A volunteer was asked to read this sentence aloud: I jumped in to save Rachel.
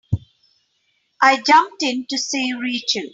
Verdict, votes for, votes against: accepted, 2, 1